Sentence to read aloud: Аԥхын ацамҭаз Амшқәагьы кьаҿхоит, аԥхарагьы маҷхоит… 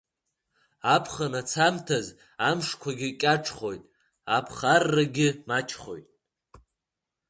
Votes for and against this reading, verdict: 1, 2, rejected